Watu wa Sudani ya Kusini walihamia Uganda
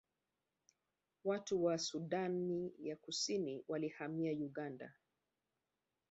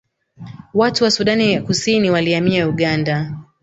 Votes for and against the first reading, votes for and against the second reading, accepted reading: 1, 2, 2, 0, second